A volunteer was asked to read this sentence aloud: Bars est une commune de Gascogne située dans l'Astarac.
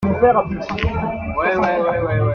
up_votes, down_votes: 0, 2